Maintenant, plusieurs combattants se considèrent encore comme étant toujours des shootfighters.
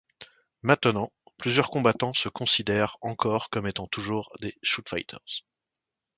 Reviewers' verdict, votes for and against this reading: accepted, 2, 0